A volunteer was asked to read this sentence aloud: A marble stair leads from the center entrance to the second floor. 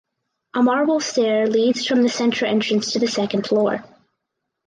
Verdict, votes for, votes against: accepted, 4, 2